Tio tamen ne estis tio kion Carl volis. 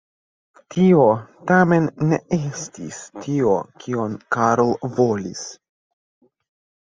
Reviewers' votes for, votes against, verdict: 2, 0, accepted